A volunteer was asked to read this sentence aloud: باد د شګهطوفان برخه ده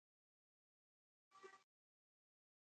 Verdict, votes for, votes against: rejected, 0, 2